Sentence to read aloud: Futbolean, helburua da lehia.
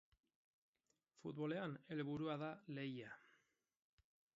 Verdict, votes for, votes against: accepted, 4, 0